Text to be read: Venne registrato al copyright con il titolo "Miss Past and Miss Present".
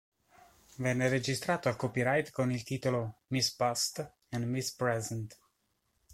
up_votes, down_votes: 2, 0